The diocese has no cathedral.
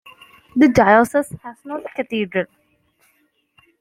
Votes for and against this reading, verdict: 1, 2, rejected